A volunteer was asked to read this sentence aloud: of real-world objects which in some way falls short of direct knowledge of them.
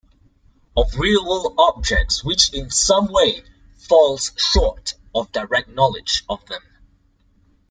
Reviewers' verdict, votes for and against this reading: accepted, 2, 1